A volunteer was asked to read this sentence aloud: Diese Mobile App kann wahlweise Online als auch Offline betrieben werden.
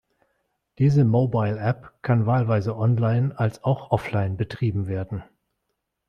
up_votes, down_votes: 2, 0